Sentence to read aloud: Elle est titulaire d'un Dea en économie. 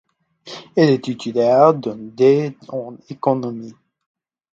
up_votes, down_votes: 0, 2